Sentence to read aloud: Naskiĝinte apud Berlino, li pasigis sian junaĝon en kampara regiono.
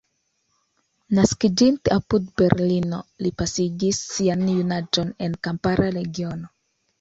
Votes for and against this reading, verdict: 2, 1, accepted